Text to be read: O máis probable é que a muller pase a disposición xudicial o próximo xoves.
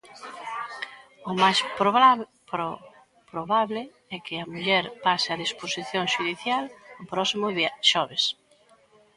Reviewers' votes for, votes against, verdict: 0, 2, rejected